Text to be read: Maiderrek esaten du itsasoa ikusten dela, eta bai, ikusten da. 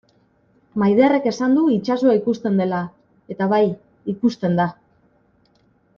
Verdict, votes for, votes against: rejected, 0, 2